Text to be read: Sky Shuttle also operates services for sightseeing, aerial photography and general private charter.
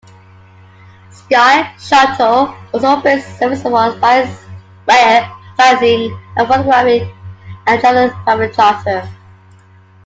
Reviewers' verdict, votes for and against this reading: rejected, 0, 2